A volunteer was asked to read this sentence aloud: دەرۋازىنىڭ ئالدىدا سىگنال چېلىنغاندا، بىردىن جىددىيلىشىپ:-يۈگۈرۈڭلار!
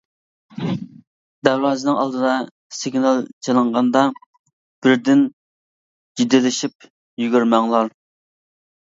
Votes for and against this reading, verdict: 0, 2, rejected